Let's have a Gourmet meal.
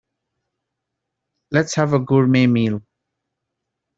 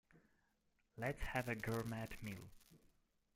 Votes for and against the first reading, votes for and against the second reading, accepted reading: 2, 0, 0, 2, first